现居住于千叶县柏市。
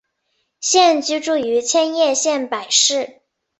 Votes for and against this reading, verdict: 2, 0, accepted